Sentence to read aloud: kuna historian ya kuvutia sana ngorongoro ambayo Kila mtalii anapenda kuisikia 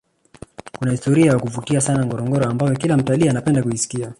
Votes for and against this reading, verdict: 0, 2, rejected